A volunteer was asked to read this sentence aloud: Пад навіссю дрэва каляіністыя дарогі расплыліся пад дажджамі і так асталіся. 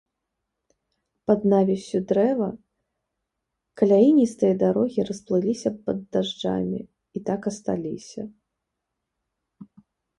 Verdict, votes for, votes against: accepted, 2, 0